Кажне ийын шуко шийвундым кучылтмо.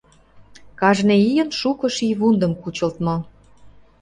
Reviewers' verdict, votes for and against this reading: accepted, 2, 0